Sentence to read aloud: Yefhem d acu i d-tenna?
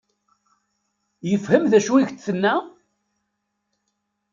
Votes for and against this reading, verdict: 1, 2, rejected